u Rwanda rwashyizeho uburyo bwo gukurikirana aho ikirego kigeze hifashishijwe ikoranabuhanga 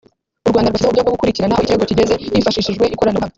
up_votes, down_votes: 0, 2